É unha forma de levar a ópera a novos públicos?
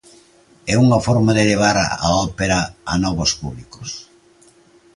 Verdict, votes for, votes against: accepted, 2, 1